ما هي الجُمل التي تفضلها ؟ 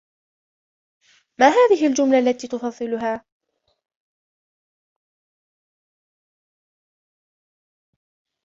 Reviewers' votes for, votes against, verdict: 0, 2, rejected